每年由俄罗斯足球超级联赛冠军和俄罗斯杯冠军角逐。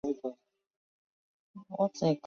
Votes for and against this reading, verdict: 0, 3, rejected